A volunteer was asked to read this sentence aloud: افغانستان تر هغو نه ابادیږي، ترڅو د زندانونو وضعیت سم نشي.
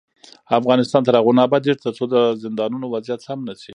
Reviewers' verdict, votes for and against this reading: rejected, 1, 2